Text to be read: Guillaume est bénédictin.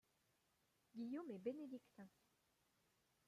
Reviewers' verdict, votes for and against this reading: rejected, 0, 2